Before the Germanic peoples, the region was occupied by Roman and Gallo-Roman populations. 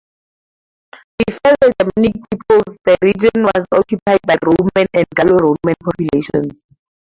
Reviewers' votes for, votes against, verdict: 0, 2, rejected